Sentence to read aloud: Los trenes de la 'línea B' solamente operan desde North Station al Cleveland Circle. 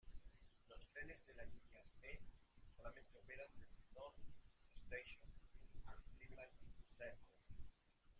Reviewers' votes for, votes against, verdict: 1, 2, rejected